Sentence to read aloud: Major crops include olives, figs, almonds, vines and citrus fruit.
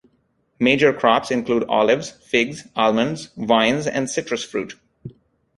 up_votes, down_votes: 2, 0